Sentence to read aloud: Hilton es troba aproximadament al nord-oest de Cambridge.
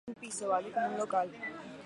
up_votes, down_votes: 0, 4